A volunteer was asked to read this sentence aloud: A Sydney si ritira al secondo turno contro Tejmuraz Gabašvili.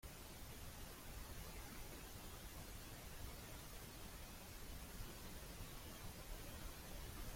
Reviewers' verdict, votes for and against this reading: rejected, 0, 2